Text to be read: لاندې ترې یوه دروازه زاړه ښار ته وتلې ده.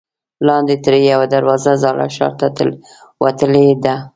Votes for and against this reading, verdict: 1, 2, rejected